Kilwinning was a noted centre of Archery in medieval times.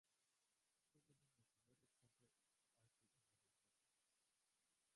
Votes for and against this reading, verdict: 0, 2, rejected